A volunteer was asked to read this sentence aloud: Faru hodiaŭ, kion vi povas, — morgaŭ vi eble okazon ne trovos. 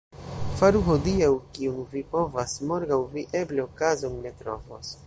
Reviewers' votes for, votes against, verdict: 2, 0, accepted